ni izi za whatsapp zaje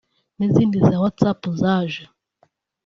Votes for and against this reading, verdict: 0, 2, rejected